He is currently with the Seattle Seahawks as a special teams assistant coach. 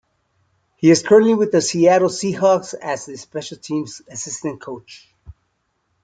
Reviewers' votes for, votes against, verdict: 2, 0, accepted